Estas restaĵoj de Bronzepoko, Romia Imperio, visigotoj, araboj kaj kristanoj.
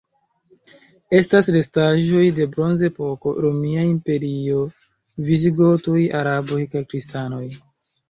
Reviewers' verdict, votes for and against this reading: accepted, 2, 1